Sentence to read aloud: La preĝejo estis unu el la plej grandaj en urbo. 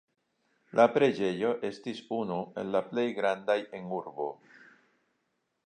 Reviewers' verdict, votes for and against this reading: accepted, 2, 1